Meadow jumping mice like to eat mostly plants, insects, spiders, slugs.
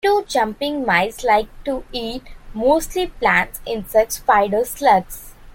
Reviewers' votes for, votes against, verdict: 2, 1, accepted